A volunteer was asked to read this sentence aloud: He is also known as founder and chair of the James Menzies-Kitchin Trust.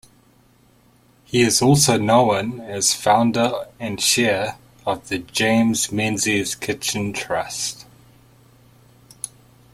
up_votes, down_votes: 0, 2